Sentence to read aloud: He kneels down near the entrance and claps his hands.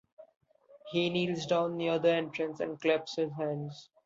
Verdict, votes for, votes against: accepted, 2, 0